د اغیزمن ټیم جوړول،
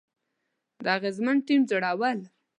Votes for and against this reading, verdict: 2, 0, accepted